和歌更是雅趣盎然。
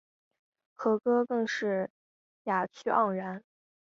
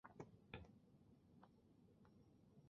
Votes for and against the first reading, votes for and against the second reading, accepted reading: 6, 0, 1, 4, first